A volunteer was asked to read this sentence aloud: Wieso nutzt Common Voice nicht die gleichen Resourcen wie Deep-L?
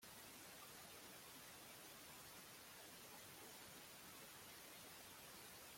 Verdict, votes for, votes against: rejected, 0, 2